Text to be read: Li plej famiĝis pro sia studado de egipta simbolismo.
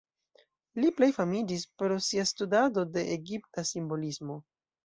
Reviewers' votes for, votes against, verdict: 1, 2, rejected